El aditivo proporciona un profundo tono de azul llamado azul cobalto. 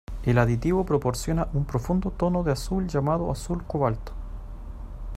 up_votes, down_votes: 2, 0